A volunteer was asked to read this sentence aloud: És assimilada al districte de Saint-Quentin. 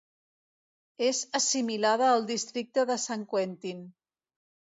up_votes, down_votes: 1, 2